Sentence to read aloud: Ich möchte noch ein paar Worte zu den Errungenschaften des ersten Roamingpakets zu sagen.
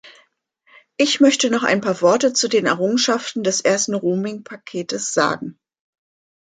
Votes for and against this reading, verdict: 1, 2, rejected